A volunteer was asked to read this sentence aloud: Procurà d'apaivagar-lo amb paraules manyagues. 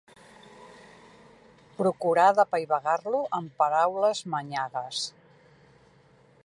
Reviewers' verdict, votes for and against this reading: accepted, 2, 0